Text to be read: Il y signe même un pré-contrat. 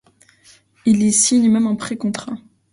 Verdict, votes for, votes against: accepted, 2, 0